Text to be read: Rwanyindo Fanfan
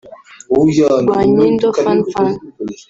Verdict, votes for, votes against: rejected, 1, 2